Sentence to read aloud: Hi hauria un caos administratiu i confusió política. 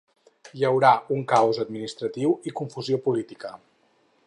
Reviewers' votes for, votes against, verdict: 4, 6, rejected